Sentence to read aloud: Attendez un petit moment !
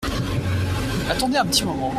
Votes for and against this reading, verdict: 2, 0, accepted